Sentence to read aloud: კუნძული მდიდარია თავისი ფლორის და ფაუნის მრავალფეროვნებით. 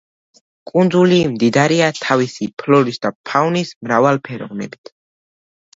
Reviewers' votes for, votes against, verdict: 1, 2, rejected